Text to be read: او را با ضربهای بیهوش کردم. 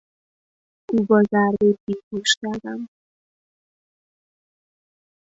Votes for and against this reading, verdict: 1, 2, rejected